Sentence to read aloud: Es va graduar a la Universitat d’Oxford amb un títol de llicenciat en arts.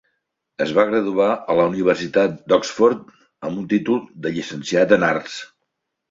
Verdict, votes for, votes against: accepted, 3, 0